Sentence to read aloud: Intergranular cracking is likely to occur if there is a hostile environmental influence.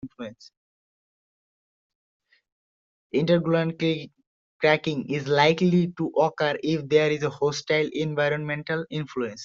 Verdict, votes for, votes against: rejected, 0, 2